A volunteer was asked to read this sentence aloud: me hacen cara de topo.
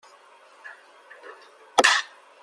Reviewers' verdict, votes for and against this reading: rejected, 0, 2